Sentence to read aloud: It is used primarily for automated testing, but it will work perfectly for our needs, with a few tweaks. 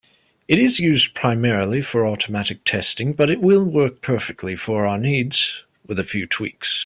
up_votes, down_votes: 2, 0